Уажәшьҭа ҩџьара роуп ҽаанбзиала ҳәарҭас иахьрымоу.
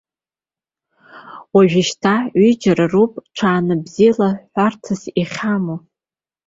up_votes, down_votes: 2, 0